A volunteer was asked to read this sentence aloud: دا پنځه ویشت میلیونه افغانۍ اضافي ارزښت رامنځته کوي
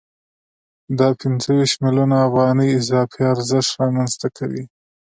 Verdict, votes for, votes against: accepted, 2, 0